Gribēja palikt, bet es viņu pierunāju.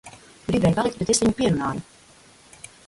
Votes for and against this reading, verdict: 1, 2, rejected